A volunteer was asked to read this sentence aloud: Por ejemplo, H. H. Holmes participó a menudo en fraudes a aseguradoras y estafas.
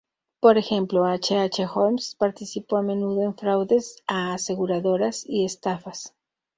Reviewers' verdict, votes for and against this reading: accepted, 2, 0